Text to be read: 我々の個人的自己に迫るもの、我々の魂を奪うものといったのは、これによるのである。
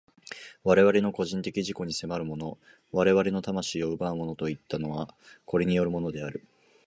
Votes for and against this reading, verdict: 0, 2, rejected